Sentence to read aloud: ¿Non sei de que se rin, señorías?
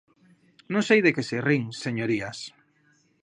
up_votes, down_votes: 2, 0